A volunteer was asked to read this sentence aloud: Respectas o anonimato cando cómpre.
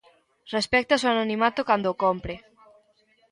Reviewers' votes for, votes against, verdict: 2, 0, accepted